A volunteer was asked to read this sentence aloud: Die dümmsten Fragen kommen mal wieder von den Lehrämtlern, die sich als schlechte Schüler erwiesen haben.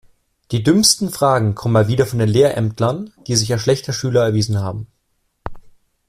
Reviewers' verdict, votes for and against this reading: accepted, 2, 0